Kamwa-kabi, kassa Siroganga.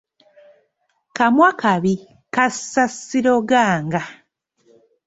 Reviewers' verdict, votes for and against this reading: accepted, 2, 0